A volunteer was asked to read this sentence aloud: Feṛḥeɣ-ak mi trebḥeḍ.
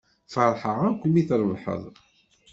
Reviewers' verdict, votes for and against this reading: rejected, 1, 2